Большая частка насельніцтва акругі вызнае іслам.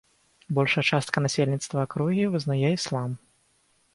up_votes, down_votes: 4, 0